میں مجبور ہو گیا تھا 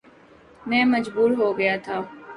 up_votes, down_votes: 2, 0